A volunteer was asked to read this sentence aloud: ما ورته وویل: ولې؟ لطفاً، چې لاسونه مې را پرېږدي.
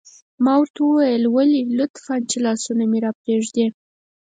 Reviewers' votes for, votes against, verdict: 4, 0, accepted